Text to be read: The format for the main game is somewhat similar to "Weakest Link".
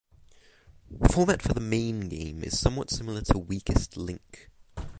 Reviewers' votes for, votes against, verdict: 3, 3, rejected